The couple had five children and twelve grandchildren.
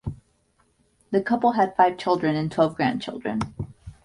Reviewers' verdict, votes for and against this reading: accepted, 2, 0